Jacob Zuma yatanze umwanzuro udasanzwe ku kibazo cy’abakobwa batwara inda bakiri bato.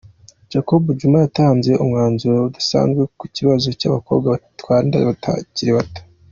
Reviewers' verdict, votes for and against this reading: accepted, 2, 1